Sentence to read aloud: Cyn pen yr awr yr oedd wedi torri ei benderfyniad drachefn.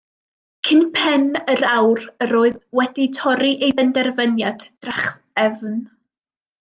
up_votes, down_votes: 1, 2